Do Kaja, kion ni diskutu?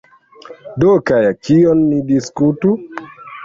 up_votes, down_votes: 0, 2